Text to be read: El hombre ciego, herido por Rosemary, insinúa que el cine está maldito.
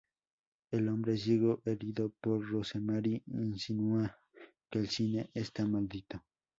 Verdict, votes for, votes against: accepted, 2, 0